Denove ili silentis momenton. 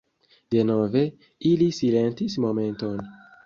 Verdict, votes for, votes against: rejected, 0, 2